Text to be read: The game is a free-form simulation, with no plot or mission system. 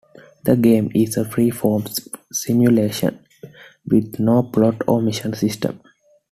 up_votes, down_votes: 2, 0